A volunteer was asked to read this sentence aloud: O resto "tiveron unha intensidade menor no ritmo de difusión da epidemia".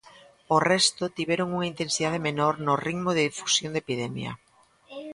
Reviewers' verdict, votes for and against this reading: rejected, 0, 2